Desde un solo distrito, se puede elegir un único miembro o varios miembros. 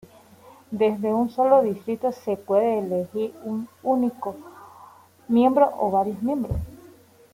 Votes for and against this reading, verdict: 2, 0, accepted